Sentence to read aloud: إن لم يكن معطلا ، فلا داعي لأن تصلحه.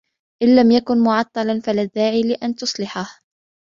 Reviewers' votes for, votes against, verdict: 2, 0, accepted